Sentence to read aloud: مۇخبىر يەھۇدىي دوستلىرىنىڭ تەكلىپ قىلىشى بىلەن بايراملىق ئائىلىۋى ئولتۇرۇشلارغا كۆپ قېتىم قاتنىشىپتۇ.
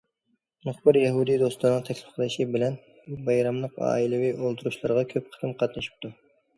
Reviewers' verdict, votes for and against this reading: accepted, 2, 0